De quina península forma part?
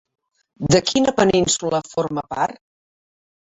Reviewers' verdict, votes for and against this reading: rejected, 1, 2